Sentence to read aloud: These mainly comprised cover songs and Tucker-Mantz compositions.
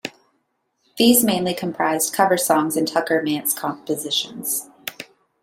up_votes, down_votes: 2, 0